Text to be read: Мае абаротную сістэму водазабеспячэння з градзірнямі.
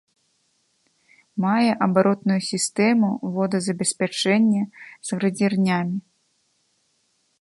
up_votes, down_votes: 1, 2